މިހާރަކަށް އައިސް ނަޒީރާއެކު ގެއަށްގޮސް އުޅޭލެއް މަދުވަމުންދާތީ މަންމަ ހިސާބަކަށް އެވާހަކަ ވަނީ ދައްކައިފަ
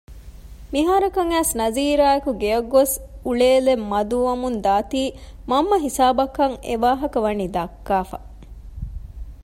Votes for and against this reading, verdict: 2, 0, accepted